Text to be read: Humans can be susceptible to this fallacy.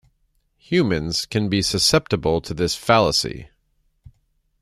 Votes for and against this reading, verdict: 2, 0, accepted